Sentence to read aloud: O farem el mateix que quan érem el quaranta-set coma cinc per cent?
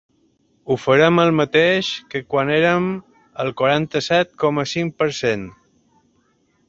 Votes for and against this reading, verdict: 1, 2, rejected